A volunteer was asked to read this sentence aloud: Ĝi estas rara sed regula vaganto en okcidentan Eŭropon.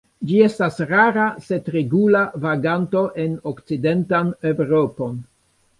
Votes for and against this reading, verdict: 1, 2, rejected